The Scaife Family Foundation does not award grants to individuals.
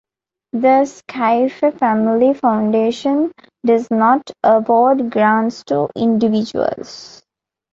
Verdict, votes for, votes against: accepted, 2, 0